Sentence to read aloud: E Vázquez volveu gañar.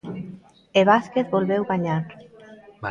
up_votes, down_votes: 2, 0